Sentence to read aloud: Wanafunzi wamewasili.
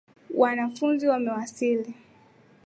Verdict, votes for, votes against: accepted, 2, 0